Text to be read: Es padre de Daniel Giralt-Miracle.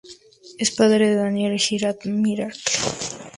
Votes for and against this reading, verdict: 2, 0, accepted